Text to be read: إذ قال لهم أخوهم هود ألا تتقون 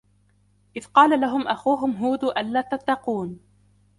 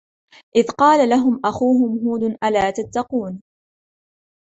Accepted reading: second